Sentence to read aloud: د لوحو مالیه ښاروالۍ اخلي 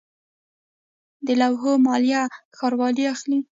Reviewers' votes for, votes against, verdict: 0, 2, rejected